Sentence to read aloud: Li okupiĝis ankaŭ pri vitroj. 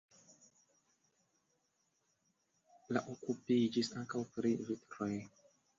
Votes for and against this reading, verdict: 1, 2, rejected